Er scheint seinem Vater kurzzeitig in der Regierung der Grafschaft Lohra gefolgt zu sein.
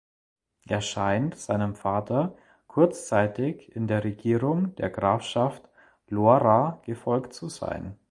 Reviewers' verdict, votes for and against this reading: accepted, 2, 0